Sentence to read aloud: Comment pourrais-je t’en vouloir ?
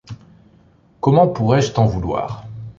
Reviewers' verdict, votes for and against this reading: accepted, 2, 0